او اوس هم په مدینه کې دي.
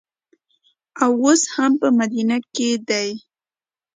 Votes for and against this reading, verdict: 2, 0, accepted